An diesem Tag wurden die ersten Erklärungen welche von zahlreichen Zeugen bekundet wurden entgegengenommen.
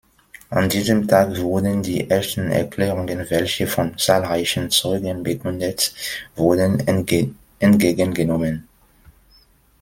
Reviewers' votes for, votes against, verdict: 1, 2, rejected